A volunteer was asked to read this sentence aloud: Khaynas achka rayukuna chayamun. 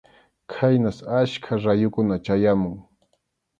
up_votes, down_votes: 2, 0